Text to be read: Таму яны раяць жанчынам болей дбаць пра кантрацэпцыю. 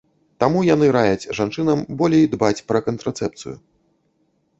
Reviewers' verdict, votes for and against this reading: accepted, 2, 0